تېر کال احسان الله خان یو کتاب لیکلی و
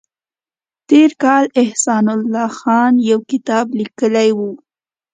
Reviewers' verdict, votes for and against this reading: accepted, 2, 0